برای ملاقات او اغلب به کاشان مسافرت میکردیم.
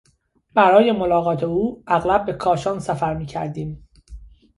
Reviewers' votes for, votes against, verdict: 0, 2, rejected